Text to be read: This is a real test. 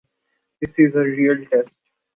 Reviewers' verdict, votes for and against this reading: accepted, 2, 1